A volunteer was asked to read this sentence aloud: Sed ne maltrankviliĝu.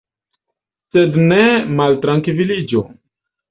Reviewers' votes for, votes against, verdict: 3, 1, accepted